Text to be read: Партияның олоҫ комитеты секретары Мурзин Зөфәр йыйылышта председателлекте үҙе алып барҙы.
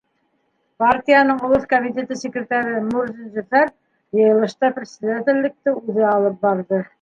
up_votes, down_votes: 2, 0